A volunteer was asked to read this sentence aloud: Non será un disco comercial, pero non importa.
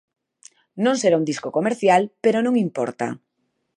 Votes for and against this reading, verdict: 2, 0, accepted